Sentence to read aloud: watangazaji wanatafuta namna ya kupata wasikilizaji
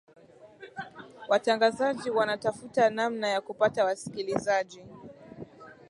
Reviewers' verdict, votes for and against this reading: accepted, 2, 1